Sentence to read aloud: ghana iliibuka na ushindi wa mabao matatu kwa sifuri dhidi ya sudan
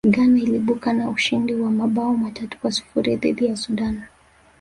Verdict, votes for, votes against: rejected, 1, 2